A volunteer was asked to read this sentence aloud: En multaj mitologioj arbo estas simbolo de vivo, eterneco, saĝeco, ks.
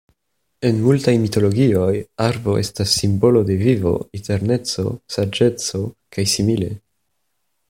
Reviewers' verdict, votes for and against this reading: rejected, 0, 2